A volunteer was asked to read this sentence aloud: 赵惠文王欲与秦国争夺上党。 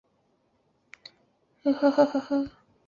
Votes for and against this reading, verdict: 0, 3, rejected